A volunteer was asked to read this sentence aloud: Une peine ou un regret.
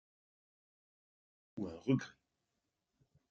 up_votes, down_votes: 0, 2